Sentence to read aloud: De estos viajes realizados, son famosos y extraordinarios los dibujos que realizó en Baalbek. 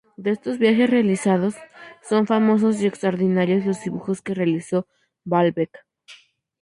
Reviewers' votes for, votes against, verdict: 2, 2, rejected